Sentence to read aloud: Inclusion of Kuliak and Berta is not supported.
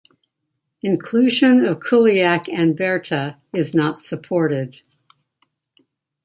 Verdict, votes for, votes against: accepted, 2, 0